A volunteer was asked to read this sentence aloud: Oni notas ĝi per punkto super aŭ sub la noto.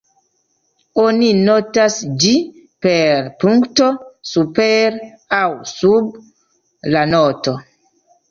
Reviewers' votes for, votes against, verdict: 1, 2, rejected